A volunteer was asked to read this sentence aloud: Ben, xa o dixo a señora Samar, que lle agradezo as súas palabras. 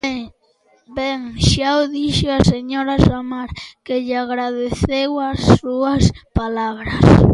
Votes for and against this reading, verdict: 0, 2, rejected